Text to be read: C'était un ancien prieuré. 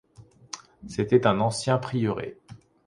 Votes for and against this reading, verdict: 2, 0, accepted